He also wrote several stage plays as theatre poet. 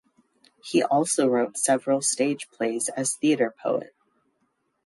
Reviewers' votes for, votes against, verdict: 2, 0, accepted